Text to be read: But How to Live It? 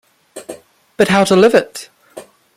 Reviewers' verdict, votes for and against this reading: rejected, 0, 2